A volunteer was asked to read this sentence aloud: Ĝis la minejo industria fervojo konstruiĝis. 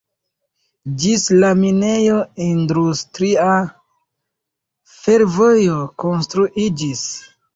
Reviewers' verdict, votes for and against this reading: rejected, 0, 2